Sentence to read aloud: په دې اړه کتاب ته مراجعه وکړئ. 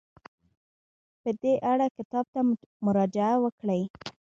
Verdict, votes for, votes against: rejected, 0, 2